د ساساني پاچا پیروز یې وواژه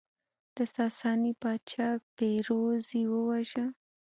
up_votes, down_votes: 2, 0